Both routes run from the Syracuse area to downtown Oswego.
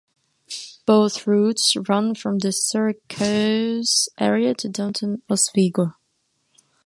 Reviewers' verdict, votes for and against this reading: rejected, 1, 2